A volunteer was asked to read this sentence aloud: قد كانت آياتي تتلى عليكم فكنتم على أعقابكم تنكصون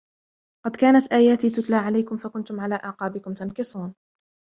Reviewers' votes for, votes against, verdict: 0, 2, rejected